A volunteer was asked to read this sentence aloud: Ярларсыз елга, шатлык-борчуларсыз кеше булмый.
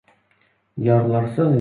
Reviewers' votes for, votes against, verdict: 0, 2, rejected